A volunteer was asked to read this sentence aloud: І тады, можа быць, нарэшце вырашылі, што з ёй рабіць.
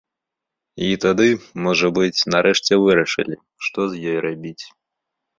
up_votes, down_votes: 5, 0